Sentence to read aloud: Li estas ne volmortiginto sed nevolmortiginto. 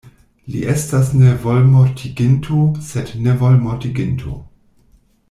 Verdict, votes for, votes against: accepted, 2, 1